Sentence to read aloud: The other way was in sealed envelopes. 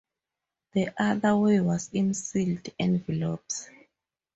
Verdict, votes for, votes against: rejected, 2, 2